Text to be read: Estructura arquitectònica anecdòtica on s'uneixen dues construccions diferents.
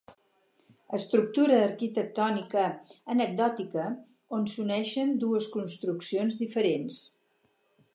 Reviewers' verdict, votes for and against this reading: accepted, 4, 0